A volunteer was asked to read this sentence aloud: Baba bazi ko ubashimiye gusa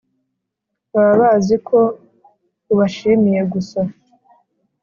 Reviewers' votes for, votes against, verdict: 2, 0, accepted